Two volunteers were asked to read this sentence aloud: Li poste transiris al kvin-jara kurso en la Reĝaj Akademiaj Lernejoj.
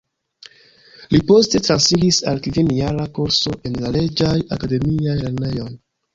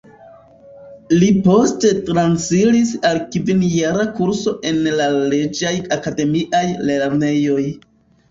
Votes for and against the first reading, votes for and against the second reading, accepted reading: 3, 0, 1, 2, first